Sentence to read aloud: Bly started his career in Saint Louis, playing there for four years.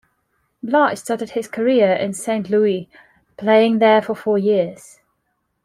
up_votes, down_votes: 2, 1